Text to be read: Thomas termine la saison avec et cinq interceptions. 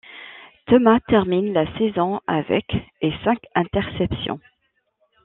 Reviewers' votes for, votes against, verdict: 2, 0, accepted